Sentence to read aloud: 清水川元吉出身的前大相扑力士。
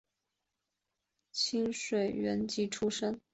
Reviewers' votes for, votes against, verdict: 0, 2, rejected